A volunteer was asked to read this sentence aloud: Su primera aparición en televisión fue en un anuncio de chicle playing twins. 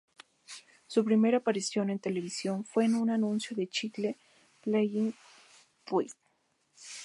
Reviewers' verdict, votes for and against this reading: rejected, 2, 2